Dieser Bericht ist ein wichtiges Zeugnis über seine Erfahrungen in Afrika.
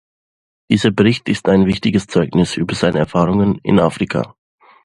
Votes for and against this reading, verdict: 2, 0, accepted